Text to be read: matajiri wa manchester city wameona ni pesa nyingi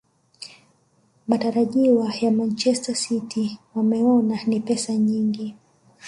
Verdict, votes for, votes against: rejected, 1, 3